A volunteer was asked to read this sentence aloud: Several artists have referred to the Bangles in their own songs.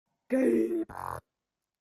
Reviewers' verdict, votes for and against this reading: rejected, 0, 2